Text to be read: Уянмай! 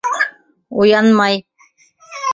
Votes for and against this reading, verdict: 0, 2, rejected